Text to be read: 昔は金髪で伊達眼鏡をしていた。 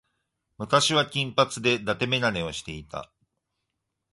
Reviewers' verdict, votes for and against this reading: rejected, 1, 2